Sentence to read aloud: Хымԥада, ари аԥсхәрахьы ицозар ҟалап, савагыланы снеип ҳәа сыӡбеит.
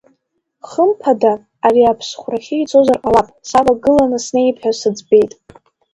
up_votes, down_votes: 0, 2